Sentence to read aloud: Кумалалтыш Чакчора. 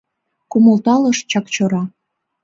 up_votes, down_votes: 1, 2